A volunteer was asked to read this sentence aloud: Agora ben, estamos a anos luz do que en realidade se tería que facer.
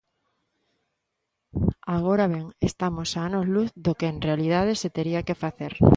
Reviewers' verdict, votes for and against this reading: accepted, 2, 0